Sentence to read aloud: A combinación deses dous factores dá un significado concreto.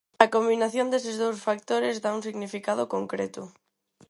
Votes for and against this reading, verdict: 4, 0, accepted